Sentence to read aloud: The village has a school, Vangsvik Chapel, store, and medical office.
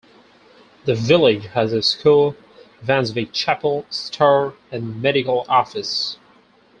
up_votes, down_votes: 4, 0